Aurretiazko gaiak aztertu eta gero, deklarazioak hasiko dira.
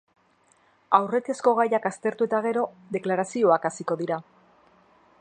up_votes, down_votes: 0, 2